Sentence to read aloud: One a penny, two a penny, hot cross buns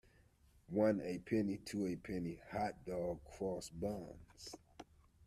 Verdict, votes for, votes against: rejected, 0, 2